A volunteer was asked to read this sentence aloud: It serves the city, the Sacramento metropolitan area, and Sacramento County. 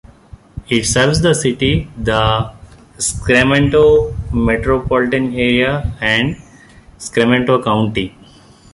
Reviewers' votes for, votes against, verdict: 0, 2, rejected